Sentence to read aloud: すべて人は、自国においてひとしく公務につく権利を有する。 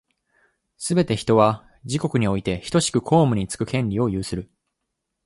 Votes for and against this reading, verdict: 2, 0, accepted